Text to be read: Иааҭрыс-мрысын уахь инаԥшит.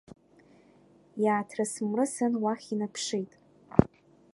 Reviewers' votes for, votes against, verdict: 2, 0, accepted